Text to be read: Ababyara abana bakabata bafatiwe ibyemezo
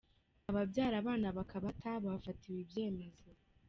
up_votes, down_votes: 2, 1